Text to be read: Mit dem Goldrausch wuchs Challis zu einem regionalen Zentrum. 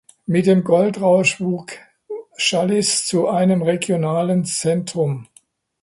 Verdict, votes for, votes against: rejected, 0, 2